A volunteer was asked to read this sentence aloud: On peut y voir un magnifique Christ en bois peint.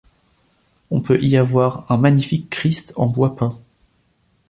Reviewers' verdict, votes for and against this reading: rejected, 1, 2